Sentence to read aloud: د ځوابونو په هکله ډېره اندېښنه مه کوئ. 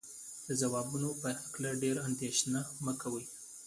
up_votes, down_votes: 2, 0